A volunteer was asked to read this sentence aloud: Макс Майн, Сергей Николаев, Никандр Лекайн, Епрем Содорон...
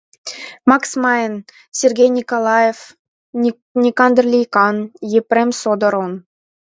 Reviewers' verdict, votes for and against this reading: rejected, 0, 2